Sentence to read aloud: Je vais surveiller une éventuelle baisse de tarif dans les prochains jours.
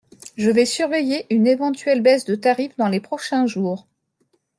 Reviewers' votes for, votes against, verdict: 2, 0, accepted